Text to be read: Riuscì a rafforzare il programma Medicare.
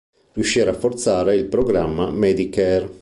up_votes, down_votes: 2, 0